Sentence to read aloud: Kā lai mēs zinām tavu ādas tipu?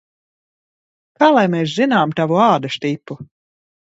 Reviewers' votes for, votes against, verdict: 2, 0, accepted